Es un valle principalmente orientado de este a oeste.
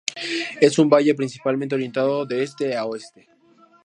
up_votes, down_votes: 2, 0